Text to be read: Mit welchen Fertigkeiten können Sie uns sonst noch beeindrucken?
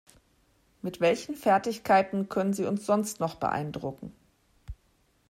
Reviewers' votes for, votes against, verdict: 2, 0, accepted